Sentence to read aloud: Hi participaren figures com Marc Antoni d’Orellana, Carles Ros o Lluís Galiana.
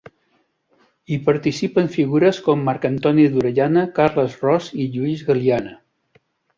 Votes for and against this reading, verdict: 0, 2, rejected